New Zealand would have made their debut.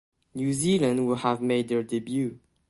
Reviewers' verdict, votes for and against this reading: accepted, 2, 0